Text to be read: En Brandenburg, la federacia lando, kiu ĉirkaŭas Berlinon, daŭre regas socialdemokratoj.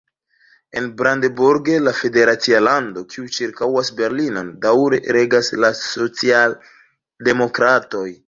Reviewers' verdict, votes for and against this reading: rejected, 1, 2